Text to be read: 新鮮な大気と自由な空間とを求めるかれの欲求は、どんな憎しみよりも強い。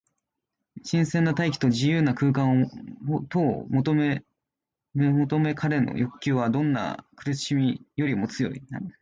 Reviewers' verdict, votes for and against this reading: rejected, 2, 3